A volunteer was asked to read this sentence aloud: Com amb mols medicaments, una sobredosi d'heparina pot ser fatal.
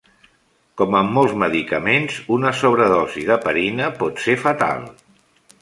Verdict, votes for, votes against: accepted, 2, 1